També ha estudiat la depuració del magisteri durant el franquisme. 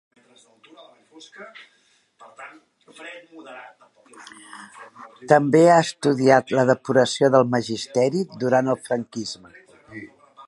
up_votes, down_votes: 1, 2